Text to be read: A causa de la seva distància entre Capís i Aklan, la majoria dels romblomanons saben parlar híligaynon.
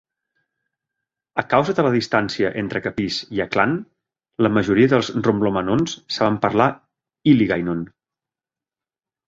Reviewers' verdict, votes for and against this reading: rejected, 0, 2